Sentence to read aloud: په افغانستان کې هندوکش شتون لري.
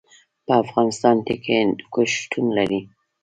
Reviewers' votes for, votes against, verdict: 2, 0, accepted